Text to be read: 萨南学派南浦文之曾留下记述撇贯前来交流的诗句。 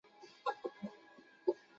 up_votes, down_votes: 0, 2